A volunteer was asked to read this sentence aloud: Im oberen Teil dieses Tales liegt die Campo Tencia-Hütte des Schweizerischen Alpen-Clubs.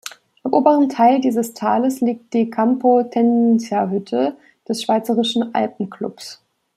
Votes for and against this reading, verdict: 1, 2, rejected